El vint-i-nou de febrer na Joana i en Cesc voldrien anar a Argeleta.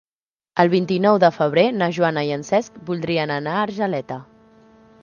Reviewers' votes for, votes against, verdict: 3, 0, accepted